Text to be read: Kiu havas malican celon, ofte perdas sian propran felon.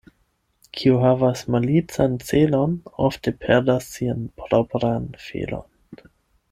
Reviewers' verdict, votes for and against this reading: accepted, 8, 0